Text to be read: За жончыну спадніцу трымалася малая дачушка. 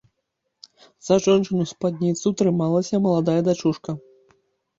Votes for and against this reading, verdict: 0, 2, rejected